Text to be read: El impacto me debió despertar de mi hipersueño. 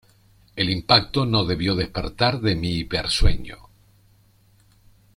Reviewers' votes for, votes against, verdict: 0, 2, rejected